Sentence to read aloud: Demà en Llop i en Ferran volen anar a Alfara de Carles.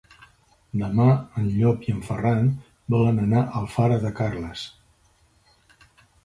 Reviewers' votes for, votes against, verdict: 3, 0, accepted